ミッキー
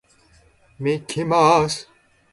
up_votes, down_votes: 0, 2